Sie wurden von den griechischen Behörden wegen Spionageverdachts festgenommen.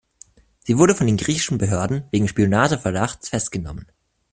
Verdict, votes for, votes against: rejected, 1, 2